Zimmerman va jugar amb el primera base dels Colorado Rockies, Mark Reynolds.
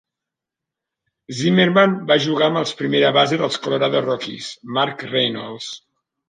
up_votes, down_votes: 1, 2